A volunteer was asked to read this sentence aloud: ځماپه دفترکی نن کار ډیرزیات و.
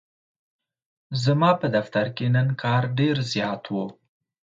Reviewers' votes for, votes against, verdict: 2, 0, accepted